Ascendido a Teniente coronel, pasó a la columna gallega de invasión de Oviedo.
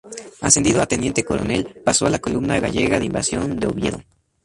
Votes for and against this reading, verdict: 2, 0, accepted